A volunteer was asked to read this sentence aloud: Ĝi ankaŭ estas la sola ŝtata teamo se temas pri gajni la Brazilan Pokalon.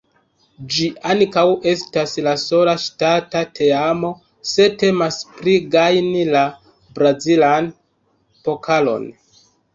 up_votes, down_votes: 0, 2